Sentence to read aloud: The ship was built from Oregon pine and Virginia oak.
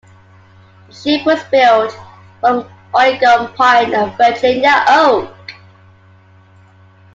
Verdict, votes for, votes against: accepted, 2, 0